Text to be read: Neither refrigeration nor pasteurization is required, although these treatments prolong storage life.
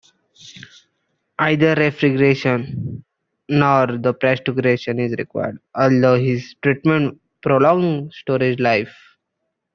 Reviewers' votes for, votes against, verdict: 0, 2, rejected